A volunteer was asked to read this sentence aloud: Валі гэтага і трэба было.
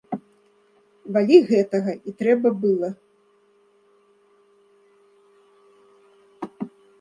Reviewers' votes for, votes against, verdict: 0, 2, rejected